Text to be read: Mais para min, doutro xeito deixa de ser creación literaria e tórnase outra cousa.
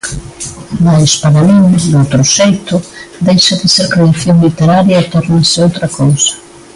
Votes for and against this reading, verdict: 0, 2, rejected